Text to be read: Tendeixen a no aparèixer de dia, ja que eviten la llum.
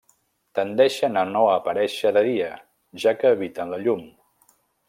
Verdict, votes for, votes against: accepted, 2, 1